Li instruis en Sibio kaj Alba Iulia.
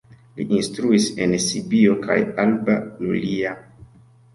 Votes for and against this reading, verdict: 2, 0, accepted